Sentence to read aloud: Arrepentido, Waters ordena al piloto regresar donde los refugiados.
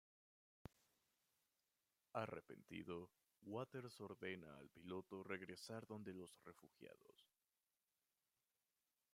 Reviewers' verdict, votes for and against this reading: rejected, 1, 2